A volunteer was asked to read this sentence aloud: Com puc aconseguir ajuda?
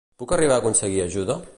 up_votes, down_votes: 0, 2